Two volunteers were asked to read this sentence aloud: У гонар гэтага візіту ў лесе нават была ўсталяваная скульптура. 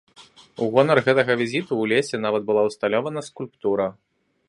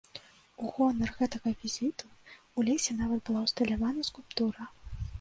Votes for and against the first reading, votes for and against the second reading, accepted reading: 2, 1, 0, 2, first